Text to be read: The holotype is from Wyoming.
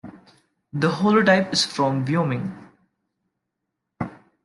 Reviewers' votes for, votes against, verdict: 0, 2, rejected